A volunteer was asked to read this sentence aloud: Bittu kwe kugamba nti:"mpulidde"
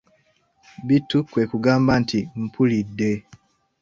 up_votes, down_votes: 2, 1